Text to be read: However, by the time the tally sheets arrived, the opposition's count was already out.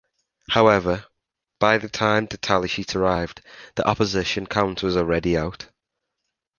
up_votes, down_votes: 1, 2